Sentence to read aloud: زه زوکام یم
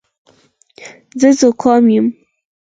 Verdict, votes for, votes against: rejected, 2, 4